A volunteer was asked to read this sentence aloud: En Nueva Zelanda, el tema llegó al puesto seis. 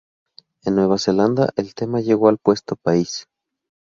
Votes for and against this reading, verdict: 0, 2, rejected